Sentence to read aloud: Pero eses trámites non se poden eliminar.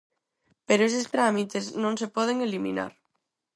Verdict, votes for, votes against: accepted, 4, 0